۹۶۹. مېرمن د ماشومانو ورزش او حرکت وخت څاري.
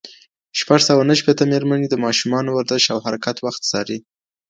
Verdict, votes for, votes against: rejected, 0, 2